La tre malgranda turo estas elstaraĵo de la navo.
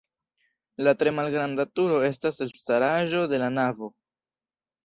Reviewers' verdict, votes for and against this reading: accepted, 2, 0